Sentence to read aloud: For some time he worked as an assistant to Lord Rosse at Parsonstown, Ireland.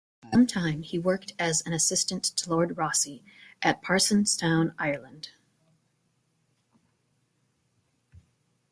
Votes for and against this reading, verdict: 1, 2, rejected